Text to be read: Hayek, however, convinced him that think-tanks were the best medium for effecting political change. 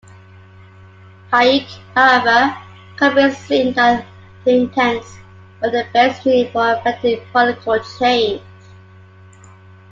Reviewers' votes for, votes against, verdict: 0, 2, rejected